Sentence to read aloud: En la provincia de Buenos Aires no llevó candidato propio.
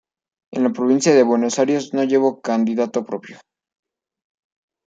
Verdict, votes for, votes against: rejected, 0, 2